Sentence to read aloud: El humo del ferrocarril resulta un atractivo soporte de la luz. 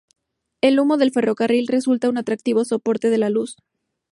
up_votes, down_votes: 2, 0